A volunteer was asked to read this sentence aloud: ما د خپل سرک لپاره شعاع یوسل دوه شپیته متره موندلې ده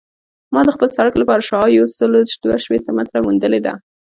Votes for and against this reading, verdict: 1, 2, rejected